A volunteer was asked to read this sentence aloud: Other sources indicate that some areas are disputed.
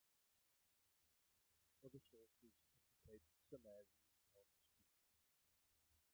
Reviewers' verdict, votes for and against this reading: rejected, 1, 2